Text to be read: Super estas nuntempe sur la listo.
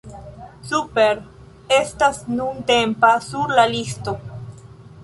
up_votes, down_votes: 1, 3